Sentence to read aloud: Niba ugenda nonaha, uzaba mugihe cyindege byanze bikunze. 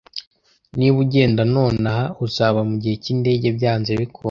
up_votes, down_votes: 0, 2